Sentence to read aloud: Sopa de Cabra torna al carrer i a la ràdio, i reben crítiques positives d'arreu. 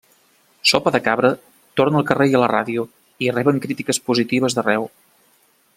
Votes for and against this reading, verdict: 3, 0, accepted